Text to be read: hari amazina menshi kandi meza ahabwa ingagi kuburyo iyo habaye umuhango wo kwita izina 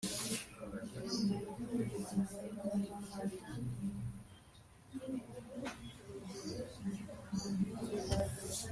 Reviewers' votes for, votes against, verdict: 1, 2, rejected